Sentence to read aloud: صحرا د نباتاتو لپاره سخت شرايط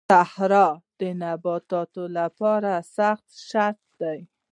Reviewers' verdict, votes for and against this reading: rejected, 1, 2